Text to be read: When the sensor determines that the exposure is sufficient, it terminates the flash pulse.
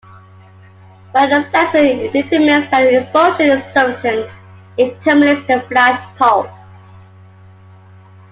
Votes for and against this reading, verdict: 2, 1, accepted